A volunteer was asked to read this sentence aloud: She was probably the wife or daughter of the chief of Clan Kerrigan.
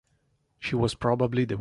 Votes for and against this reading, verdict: 0, 2, rejected